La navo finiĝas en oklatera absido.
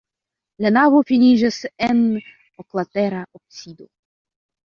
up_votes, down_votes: 1, 3